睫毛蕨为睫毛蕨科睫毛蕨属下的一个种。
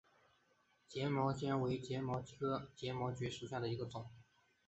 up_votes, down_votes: 2, 0